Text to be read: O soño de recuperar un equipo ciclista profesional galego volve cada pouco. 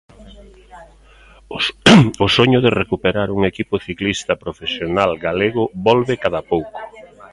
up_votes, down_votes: 1, 2